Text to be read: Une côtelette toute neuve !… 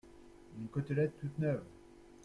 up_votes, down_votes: 2, 0